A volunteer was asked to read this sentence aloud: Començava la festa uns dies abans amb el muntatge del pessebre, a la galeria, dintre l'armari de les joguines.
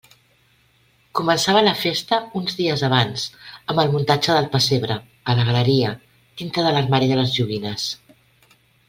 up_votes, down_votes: 2, 1